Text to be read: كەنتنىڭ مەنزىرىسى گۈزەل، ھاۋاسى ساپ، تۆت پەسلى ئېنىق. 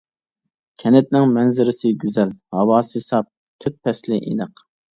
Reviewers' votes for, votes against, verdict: 2, 0, accepted